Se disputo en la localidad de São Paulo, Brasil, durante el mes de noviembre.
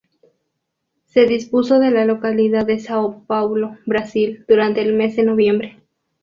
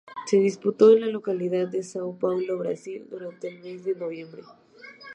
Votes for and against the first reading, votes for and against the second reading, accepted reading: 0, 2, 2, 0, second